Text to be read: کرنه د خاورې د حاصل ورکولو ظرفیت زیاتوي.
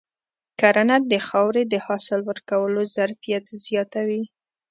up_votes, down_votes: 3, 0